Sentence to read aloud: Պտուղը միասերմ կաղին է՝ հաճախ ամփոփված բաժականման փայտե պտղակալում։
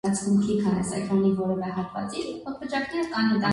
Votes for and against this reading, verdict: 0, 2, rejected